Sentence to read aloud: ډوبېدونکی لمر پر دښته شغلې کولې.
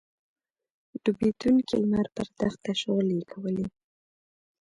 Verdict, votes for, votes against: accepted, 2, 0